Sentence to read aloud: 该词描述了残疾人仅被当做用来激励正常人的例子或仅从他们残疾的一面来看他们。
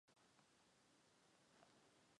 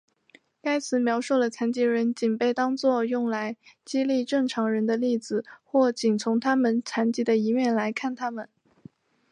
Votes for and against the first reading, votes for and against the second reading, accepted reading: 0, 3, 3, 0, second